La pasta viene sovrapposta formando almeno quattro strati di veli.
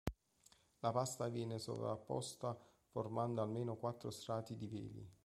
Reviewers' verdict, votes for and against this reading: accepted, 2, 1